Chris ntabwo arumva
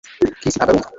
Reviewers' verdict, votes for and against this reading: rejected, 1, 2